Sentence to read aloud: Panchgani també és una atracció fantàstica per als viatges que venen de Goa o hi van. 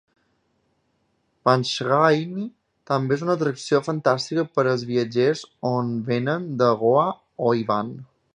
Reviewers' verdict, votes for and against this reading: rejected, 0, 3